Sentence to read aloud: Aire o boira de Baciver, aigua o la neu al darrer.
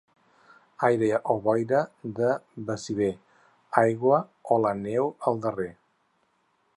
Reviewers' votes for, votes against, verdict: 4, 0, accepted